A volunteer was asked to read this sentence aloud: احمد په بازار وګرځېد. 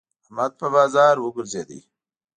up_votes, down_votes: 2, 0